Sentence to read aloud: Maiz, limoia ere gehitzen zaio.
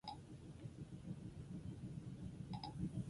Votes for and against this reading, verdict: 0, 4, rejected